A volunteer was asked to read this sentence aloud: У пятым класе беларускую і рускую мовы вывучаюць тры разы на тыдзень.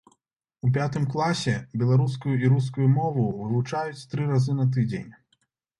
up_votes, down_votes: 2, 1